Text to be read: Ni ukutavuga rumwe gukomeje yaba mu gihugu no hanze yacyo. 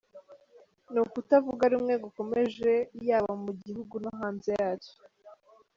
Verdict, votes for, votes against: accepted, 2, 0